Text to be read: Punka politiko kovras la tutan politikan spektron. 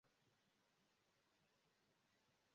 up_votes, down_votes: 1, 2